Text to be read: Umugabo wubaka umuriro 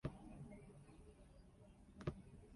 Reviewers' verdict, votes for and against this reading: rejected, 0, 2